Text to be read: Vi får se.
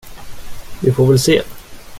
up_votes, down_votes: 0, 2